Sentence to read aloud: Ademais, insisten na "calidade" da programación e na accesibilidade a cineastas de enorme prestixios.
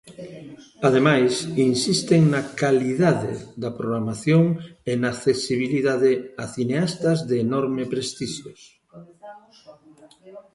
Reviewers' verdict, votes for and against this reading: rejected, 0, 2